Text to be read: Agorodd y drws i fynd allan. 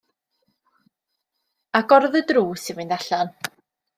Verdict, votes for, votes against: accepted, 2, 0